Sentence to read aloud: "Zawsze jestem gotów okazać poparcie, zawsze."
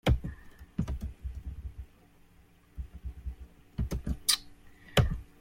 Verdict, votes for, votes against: rejected, 0, 2